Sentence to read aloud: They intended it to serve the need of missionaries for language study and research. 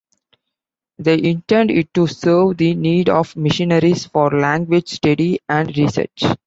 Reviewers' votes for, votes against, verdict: 2, 0, accepted